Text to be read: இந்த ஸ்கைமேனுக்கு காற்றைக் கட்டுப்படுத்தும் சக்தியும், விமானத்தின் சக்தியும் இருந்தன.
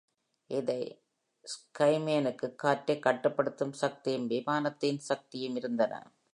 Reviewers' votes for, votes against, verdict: 2, 0, accepted